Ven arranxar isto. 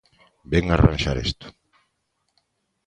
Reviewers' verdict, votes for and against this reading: rejected, 1, 2